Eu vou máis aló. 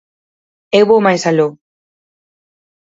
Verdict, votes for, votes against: accepted, 4, 0